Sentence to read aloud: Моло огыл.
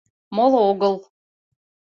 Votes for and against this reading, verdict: 2, 0, accepted